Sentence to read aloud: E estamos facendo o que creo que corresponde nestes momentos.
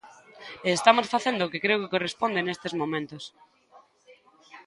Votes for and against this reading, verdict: 0, 2, rejected